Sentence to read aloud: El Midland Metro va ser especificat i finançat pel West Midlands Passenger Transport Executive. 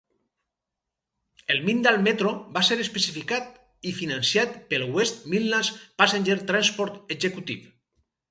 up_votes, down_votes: 2, 4